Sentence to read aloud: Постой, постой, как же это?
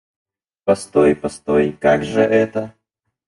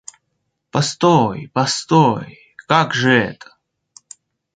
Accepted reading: second